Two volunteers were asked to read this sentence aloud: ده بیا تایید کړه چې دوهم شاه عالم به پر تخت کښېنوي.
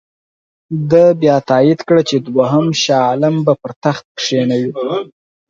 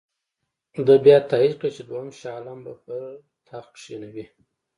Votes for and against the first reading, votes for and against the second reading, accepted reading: 4, 0, 1, 2, first